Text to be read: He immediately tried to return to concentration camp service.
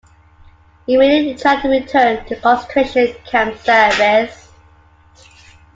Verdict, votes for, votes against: accepted, 2, 1